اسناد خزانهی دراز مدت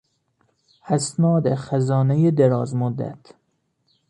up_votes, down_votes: 2, 0